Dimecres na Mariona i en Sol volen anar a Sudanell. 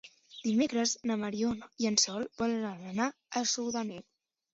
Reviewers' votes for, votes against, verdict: 2, 1, accepted